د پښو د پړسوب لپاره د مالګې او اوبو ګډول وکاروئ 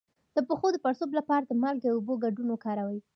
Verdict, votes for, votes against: accepted, 2, 0